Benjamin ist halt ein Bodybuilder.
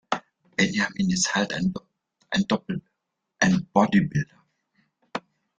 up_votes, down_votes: 0, 2